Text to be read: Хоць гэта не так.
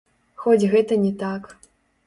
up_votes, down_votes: 0, 2